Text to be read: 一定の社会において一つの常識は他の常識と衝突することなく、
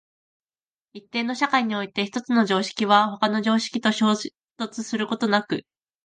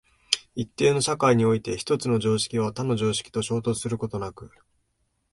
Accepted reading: second